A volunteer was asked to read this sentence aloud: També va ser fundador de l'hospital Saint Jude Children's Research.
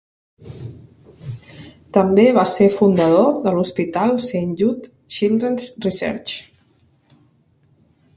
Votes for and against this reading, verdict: 0, 2, rejected